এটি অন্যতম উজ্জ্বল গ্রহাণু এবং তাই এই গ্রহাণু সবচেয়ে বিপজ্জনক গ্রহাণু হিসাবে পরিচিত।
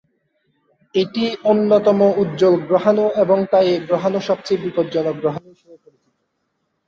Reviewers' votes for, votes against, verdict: 0, 5, rejected